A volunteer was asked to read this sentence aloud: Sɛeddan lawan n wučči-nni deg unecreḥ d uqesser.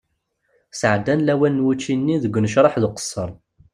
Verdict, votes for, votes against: accepted, 2, 0